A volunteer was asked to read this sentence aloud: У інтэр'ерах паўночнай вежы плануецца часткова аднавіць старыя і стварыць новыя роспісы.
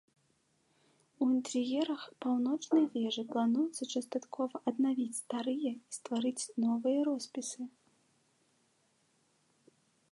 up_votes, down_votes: 1, 2